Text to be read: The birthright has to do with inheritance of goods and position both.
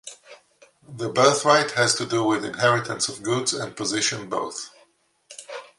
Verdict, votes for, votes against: accepted, 2, 0